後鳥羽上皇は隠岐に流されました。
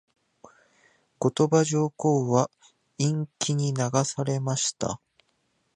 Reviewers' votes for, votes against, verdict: 0, 2, rejected